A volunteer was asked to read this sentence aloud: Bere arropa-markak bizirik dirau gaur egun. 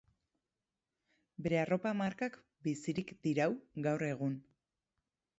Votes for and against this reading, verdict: 4, 0, accepted